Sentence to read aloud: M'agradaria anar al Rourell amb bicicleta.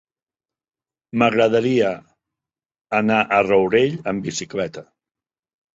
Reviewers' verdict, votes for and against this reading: rejected, 1, 2